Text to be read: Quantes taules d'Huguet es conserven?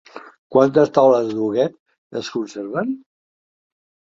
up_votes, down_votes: 3, 0